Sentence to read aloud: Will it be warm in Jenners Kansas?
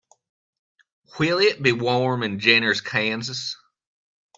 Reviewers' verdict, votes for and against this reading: accepted, 2, 0